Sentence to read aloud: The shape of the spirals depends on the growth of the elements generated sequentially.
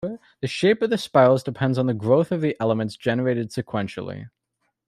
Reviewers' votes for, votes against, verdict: 1, 2, rejected